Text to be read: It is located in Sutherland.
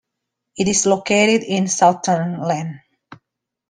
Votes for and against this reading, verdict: 2, 0, accepted